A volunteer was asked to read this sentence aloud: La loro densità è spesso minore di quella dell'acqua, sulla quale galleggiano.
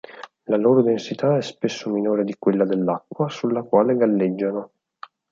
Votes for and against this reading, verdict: 6, 0, accepted